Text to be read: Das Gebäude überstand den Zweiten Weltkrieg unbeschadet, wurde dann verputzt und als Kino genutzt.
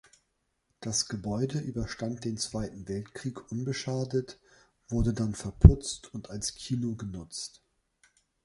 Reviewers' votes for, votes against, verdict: 0, 2, rejected